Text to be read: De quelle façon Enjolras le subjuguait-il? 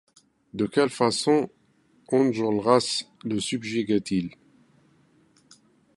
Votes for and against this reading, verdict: 2, 0, accepted